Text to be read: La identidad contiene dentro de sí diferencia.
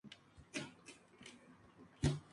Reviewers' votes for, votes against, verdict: 0, 2, rejected